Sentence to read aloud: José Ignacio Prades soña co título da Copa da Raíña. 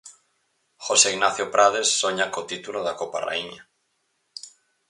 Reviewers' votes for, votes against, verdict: 0, 4, rejected